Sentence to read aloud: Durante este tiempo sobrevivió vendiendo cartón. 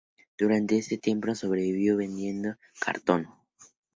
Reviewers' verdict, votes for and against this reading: accepted, 4, 0